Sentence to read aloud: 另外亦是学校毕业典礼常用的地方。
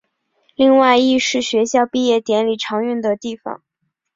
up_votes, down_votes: 2, 0